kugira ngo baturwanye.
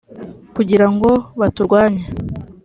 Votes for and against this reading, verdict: 3, 0, accepted